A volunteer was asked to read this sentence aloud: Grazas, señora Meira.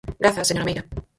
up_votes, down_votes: 0, 4